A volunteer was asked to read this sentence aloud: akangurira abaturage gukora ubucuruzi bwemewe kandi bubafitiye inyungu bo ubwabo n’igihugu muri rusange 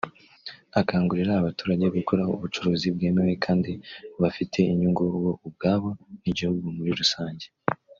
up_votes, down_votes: 1, 2